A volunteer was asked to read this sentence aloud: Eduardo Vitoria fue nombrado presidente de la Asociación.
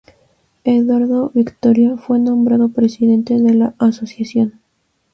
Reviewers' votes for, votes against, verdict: 2, 0, accepted